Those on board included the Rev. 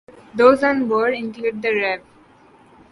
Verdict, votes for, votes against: rejected, 0, 2